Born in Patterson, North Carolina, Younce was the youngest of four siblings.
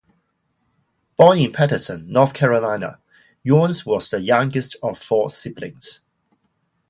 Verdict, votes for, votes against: accepted, 2, 0